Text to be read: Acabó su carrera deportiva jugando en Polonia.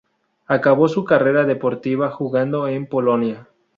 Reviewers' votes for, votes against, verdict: 2, 0, accepted